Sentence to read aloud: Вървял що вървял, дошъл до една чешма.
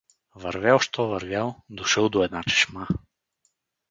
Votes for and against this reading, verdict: 4, 0, accepted